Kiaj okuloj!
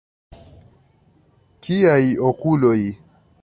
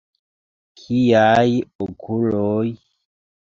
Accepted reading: first